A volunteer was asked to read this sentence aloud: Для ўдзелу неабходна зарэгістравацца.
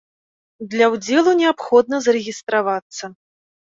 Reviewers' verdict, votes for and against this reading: accepted, 2, 0